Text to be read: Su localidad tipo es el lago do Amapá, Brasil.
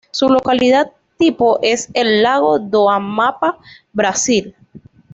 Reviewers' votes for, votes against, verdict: 2, 0, accepted